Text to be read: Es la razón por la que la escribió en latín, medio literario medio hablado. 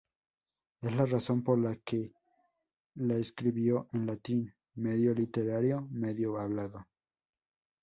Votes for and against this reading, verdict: 0, 2, rejected